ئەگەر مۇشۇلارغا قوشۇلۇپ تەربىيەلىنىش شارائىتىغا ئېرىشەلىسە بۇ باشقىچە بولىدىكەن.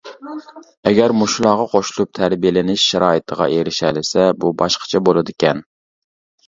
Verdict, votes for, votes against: accepted, 2, 0